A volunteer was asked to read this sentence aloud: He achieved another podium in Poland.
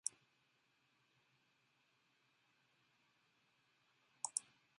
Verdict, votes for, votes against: rejected, 0, 2